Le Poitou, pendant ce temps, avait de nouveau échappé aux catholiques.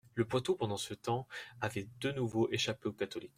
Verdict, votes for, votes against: accepted, 2, 0